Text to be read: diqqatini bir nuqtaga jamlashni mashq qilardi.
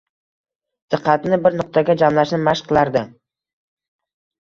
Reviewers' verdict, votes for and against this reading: accepted, 2, 1